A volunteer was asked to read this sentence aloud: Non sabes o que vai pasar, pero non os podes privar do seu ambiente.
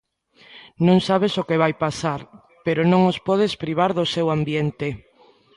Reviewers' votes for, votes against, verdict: 1, 2, rejected